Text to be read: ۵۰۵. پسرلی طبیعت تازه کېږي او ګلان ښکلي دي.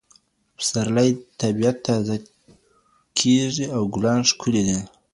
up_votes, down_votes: 0, 2